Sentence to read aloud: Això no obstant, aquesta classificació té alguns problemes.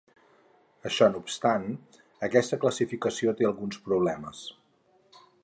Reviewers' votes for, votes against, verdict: 4, 0, accepted